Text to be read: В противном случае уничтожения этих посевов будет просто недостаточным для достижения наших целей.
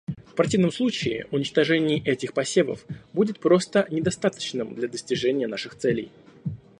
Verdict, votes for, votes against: rejected, 1, 2